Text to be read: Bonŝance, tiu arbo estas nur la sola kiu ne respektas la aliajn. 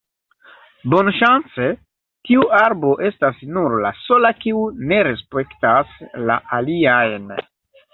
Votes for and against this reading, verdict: 2, 0, accepted